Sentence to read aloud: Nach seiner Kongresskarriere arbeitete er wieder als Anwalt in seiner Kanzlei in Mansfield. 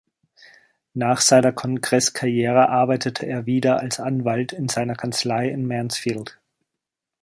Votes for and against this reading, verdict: 3, 0, accepted